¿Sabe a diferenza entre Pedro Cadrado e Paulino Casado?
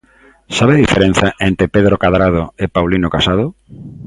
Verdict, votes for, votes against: accepted, 2, 0